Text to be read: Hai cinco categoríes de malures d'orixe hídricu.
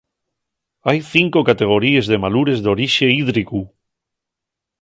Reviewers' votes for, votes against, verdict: 1, 2, rejected